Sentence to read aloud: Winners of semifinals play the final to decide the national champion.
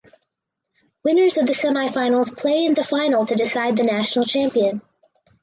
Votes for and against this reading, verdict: 0, 4, rejected